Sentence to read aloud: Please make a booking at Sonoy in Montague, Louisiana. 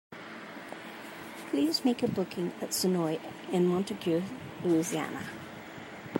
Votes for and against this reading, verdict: 2, 0, accepted